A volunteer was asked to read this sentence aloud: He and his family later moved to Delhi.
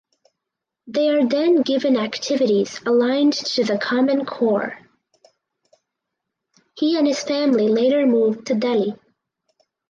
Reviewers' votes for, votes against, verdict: 0, 4, rejected